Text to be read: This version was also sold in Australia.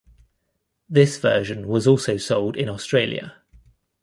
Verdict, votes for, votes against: accepted, 2, 0